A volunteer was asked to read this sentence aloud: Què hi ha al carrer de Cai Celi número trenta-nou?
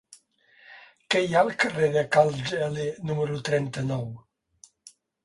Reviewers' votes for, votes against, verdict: 1, 2, rejected